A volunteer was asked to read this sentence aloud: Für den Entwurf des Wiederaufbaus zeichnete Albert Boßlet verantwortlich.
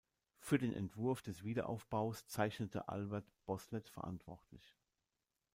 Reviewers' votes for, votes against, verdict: 2, 0, accepted